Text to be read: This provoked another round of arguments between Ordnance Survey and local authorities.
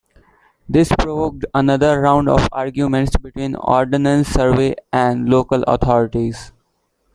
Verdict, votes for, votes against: rejected, 1, 2